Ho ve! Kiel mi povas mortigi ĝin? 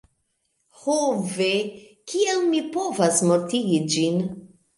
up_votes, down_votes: 2, 1